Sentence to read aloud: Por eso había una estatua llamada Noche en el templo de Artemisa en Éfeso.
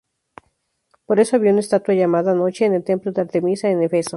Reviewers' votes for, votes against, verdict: 0, 2, rejected